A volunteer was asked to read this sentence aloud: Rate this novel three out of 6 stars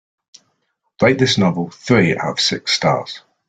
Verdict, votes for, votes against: rejected, 0, 2